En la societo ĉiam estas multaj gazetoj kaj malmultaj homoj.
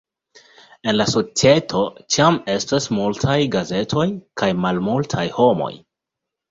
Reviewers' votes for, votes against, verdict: 2, 0, accepted